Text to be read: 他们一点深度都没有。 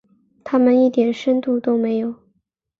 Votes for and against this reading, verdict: 2, 0, accepted